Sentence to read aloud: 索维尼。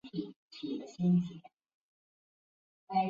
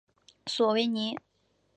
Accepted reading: second